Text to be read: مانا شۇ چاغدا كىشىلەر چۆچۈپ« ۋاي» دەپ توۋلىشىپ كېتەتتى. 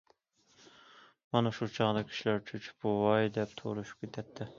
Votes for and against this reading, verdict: 2, 1, accepted